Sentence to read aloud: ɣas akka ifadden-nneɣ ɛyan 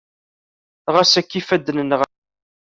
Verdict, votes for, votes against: rejected, 0, 2